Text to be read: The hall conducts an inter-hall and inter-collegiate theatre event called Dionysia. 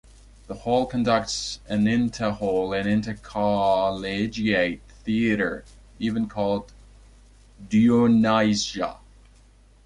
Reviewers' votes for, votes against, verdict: 0, 2, rejected